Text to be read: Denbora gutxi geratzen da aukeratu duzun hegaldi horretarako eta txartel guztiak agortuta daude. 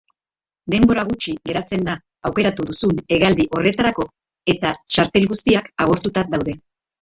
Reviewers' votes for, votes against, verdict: 1, 2, rejected